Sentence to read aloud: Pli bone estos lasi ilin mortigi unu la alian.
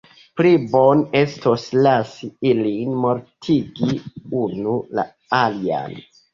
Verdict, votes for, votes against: accepted, 2, 0